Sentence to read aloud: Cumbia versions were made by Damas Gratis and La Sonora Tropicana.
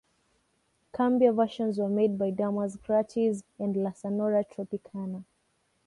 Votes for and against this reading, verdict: 2, 0, accepted